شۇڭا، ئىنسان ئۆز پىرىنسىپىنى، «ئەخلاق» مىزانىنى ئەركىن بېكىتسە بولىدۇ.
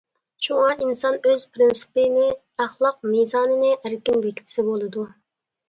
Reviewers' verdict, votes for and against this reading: accepted, 2, 1